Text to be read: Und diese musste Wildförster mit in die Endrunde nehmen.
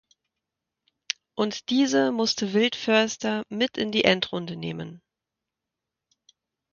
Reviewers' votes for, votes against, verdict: 2, 0, accepted